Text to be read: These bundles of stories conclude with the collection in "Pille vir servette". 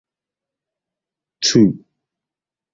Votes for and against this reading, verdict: 0, 2, rejected